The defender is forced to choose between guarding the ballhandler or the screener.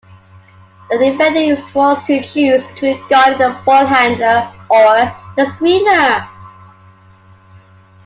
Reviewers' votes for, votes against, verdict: 2, 0, accepted